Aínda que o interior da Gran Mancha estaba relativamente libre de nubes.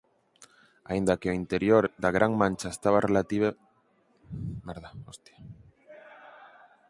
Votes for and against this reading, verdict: 0, 4, rejected